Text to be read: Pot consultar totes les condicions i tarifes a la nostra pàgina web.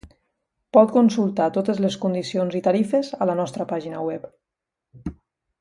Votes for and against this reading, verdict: 2, 0, accepted